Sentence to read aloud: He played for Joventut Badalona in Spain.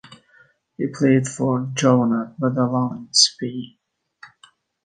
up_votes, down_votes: 2, 1